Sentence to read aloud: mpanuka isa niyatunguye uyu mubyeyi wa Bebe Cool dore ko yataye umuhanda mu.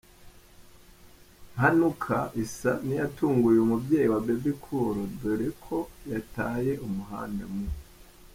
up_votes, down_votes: 0, 2